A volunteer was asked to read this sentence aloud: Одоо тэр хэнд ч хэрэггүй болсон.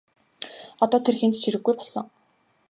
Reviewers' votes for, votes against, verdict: 2, 0, accepted